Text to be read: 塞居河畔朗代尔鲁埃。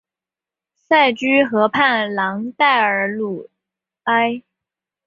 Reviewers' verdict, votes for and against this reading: accepted, 3, 0